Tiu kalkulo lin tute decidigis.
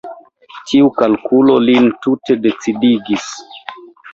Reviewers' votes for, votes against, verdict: 2, 0, accepted